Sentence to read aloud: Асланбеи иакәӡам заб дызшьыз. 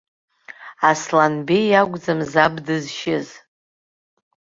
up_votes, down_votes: 1, 2